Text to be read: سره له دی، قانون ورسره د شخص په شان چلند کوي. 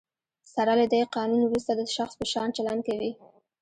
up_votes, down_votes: 0, 2